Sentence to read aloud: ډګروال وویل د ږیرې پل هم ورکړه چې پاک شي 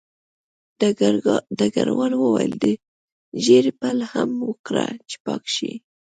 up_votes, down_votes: 2, 0